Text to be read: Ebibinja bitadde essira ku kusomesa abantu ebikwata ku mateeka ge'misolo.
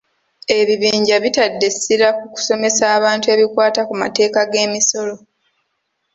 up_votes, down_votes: 0, 2